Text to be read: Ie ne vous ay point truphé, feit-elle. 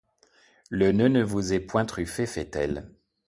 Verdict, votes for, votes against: rejected, 1, 2